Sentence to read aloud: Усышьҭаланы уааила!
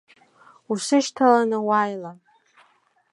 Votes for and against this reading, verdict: 2, 0, accepted